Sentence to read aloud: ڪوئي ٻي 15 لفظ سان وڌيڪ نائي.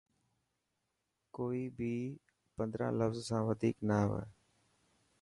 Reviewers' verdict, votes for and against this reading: rejected, 0, 2